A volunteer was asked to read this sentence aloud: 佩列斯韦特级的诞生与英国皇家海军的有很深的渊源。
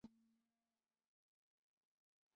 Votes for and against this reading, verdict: 1, 4, rejected